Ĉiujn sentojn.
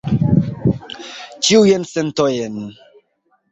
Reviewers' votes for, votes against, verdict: 0, 2, rejected